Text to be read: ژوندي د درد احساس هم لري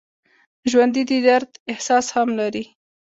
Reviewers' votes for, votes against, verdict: 2, 1, accepted